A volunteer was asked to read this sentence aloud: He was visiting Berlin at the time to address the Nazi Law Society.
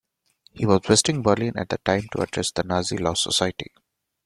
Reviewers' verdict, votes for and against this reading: rejected, 1, 2